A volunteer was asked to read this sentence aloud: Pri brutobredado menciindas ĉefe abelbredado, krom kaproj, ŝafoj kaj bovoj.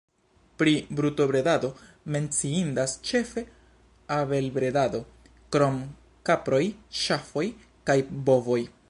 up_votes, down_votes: 2, 0